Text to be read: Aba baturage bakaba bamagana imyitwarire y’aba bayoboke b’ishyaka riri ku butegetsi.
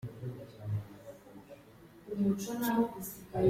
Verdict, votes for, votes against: rejected, 0, 3